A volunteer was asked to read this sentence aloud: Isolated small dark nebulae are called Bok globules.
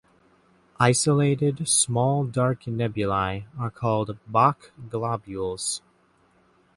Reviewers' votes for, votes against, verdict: 2, 0, accepted